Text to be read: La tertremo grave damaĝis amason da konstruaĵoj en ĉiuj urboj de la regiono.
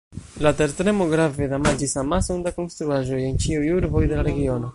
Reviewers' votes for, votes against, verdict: 1, 2, rejected